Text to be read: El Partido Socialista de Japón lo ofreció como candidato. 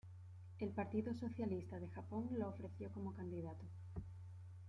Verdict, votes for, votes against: accepted, 2, 1